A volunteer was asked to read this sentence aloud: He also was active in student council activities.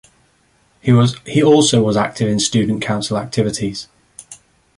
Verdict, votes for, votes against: rejected, 1, 2